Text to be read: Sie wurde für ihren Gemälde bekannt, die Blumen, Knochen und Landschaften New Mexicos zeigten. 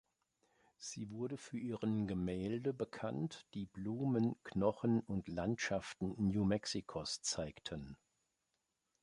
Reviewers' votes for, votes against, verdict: 2, 0, accepted